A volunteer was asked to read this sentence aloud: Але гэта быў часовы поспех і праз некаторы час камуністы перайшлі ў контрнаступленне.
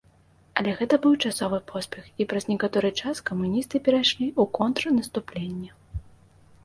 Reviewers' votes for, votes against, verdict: 2, 0, accepted